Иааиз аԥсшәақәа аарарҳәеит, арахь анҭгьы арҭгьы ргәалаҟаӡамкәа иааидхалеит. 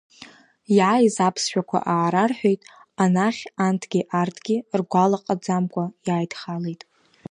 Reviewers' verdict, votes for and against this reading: rejected, 1, 3